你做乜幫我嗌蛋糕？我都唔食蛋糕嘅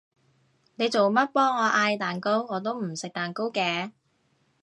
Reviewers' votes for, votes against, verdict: 2, 0, accepted